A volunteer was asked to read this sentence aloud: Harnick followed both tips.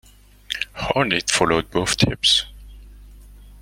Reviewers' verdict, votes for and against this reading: rejected, 1, 2